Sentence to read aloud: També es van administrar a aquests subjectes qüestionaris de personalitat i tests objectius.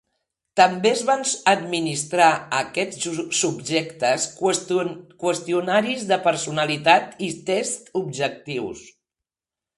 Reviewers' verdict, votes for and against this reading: rejected, 1, 2